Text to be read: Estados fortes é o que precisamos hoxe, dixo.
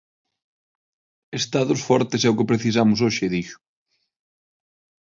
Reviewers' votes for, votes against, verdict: 6, 0, accepted